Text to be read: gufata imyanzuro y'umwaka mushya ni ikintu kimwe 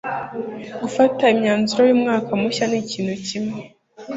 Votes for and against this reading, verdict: 2, 0, accepted